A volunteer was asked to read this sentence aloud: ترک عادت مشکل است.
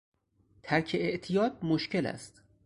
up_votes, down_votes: 0, 4